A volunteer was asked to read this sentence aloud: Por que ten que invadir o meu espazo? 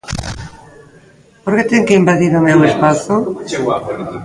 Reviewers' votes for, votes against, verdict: 0, 2, rejected